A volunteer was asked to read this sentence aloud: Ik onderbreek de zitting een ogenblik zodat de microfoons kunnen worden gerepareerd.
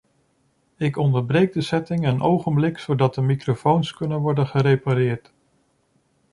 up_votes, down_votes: 1, 2